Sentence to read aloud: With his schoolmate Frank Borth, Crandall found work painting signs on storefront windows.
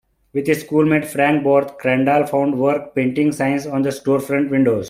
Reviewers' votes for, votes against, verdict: 1, 2, rejected